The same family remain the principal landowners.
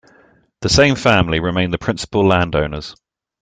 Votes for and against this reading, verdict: 2, 0, accepted